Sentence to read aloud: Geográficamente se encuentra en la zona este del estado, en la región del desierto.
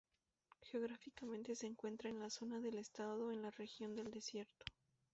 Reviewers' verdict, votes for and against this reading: rejected, 0, 2